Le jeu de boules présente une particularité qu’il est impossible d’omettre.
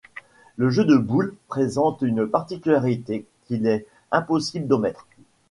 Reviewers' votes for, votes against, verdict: 2, 0, accepted